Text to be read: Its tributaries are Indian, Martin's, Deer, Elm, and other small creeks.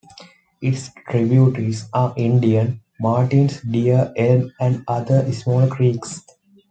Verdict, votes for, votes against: accepted, 2, 0